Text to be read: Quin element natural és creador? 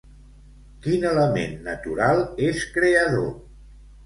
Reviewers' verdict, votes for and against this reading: accepted, 2, 0